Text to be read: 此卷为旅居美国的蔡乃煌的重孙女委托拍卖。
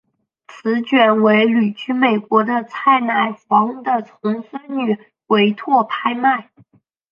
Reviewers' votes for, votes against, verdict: 8, 0, accepted